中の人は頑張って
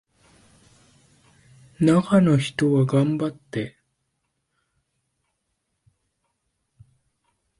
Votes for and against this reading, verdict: 1, 2, rejected